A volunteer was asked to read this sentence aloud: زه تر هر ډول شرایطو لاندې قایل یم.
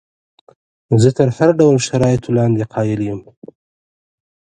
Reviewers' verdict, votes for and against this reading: accepted, 2, 0